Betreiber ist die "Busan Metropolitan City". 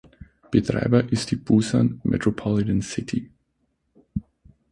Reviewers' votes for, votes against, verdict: 6, 0, accepted